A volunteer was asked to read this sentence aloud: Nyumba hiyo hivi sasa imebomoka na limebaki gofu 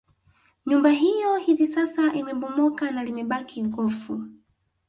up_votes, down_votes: 2, 0